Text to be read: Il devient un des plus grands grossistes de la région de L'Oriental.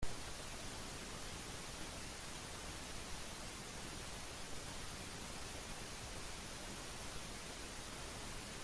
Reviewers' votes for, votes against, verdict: 0, 2, rejected